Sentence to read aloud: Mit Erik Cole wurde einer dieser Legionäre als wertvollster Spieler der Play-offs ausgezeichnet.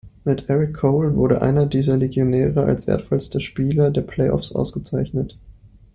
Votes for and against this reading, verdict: 2, 0, accepted